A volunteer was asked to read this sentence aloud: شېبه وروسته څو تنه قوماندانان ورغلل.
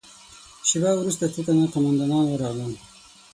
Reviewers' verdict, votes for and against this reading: accepted, 6, 0